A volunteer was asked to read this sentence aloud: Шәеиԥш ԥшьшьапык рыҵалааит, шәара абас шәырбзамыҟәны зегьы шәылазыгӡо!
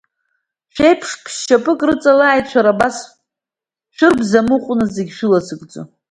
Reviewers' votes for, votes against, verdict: 2, 0, accepted